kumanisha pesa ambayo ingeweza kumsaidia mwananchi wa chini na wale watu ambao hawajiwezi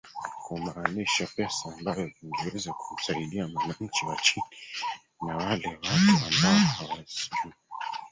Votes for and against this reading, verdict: 0, 4, rejected